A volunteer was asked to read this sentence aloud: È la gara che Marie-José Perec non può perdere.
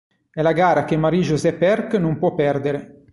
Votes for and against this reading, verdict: 1, 2, rejected